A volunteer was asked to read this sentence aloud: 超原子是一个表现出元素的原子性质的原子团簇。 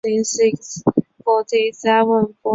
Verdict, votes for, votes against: rejected, 0, 4